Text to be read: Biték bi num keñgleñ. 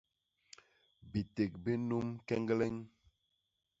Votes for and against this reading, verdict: 2, 0, accepted